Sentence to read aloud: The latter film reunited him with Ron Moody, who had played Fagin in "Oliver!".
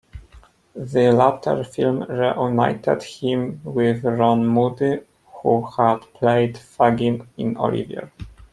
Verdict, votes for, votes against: accepted, 2, 1